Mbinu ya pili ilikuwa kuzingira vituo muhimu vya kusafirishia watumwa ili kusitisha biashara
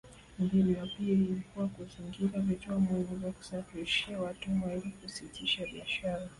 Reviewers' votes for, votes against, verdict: 0, 2, rejected